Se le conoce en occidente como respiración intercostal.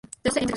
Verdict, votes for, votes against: rejected, 0, 4